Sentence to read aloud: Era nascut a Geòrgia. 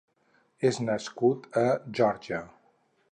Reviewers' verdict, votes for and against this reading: rejected, 0, 4